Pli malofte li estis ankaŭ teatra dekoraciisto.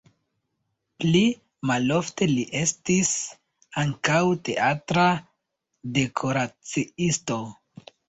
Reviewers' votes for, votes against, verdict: 2, 0, accepted